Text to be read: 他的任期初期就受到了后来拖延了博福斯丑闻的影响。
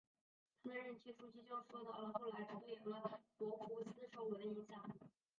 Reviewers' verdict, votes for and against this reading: rejected, 1, 2